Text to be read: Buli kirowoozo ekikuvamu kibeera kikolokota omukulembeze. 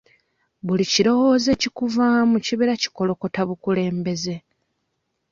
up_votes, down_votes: 0, 2